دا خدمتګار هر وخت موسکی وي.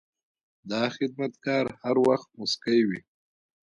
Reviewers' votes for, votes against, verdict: 2, 0, accepted